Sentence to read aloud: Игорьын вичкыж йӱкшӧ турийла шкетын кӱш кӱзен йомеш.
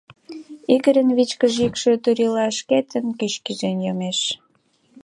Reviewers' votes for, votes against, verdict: 2, 0, accepted